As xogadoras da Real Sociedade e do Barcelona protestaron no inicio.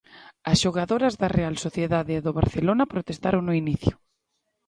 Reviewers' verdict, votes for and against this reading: accepted, 2, 0